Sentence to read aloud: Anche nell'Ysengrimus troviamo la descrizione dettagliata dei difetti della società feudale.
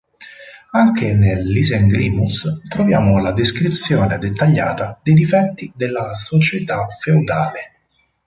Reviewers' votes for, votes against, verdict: 4, 0, accepted